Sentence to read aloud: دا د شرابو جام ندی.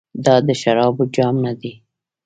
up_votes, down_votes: 0, 2